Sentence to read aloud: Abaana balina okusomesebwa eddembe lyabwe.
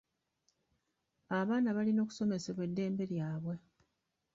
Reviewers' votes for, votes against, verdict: 0, 2, rejected